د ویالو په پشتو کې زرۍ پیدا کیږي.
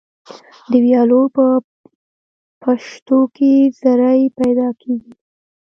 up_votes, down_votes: 1, 2